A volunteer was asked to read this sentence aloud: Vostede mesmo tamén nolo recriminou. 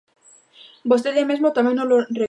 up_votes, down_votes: 0, 2